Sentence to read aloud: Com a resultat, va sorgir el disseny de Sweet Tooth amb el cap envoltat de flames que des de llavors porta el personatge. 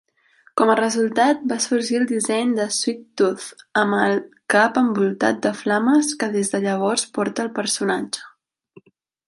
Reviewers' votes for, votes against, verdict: 2, 0, accepted